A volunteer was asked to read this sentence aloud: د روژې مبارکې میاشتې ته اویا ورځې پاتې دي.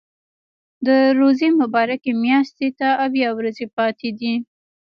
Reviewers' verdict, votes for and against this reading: rejected, 1, 2